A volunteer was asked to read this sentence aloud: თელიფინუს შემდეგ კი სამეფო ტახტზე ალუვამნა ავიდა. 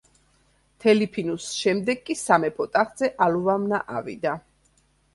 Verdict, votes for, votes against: accepted, 2, 1